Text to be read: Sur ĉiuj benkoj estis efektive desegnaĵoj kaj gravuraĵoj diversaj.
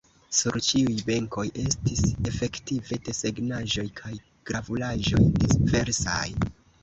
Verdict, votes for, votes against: rejected, 1, 2